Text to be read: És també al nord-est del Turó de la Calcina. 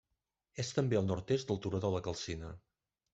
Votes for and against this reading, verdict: 3, 1, accepted